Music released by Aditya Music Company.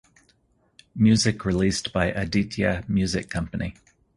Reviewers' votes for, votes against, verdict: 4, 0, accepted